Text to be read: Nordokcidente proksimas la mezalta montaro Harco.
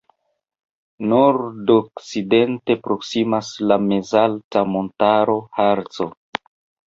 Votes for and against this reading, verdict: 0, 2, rejected